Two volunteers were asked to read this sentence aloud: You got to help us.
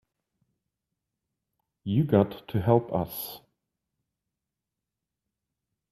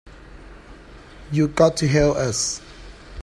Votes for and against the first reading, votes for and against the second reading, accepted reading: 2, 0, 0, 2, first